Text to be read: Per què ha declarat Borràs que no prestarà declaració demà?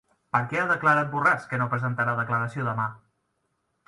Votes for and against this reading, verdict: 2, 1, accepted